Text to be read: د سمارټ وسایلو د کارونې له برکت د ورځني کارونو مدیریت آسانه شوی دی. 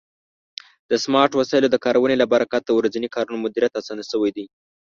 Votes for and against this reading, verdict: 1, 2, rejected